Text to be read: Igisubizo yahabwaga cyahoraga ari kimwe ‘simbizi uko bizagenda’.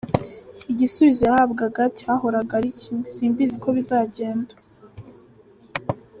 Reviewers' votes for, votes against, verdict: 2, 0, accepted